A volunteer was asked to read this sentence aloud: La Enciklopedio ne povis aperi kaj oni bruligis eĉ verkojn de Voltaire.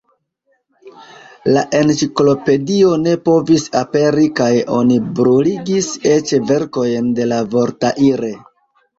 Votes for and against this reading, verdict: 0, 2, rejected